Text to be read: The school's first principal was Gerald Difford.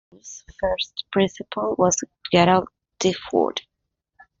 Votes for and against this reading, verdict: 0, 2, rejected